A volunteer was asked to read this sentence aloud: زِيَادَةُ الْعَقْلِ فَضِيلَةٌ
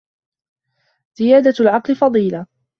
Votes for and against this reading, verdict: 2, 0, accepted